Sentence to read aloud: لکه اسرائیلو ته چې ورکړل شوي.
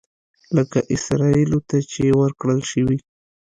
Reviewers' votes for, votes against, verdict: 2, 0, accepted